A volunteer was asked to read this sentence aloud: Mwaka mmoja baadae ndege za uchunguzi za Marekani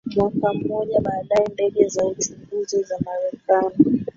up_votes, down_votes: 0, 2